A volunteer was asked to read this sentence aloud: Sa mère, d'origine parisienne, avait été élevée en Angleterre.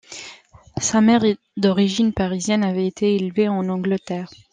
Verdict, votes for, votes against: rejected, 0, 2